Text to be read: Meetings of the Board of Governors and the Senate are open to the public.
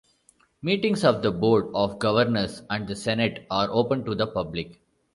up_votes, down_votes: 2, 0